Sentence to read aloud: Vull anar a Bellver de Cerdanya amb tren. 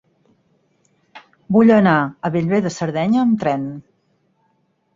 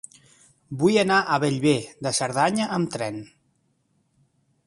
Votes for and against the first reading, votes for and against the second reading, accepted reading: 2, 8, 3, 0, second